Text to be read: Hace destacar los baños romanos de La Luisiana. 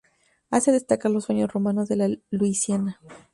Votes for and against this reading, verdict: 0, 2, rejected